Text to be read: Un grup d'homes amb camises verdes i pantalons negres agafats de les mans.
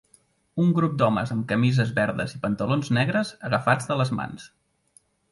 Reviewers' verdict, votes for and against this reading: accepted, 2, 0